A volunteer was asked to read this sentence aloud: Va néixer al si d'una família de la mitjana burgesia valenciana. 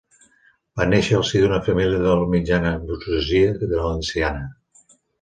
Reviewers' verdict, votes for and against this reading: rejected, 0, 5